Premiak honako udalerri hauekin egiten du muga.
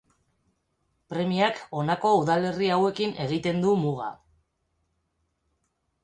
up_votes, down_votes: 4, 0